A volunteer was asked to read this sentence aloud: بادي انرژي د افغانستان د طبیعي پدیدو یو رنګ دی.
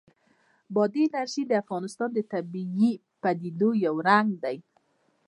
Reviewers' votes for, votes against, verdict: 2, 0, accepted